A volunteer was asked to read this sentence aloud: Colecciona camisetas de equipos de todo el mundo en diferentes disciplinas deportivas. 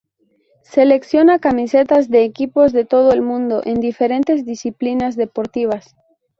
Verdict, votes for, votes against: rejected, 0, 2